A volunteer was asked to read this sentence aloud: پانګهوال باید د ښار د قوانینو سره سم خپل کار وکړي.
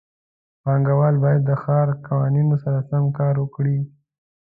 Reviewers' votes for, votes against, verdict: 2, 0, accepted